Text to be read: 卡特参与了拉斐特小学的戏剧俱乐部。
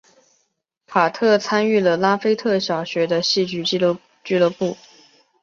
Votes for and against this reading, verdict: 3, 0, accepted